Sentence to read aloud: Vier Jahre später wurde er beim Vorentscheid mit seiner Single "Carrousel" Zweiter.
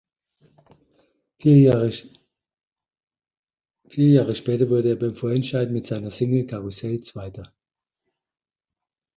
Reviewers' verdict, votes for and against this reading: rejected, 0, 2